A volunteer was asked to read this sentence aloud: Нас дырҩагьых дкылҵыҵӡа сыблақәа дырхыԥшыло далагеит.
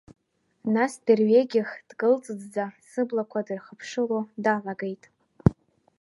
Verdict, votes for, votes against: accepted, 2, 0